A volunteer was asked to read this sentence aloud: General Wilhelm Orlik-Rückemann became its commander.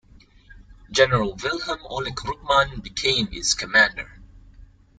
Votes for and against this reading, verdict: 1, 2, rejected